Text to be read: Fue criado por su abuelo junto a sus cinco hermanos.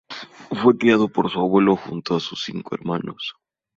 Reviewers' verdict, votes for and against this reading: accepted, 4, 0